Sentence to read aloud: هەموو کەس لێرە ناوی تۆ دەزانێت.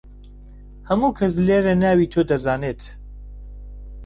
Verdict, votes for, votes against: accepted, 2, 0